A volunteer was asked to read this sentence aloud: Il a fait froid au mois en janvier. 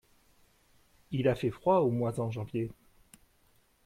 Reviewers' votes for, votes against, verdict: 2, 0, accepted